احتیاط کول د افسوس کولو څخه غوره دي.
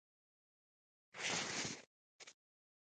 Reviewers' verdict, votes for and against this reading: rejected, 1, 2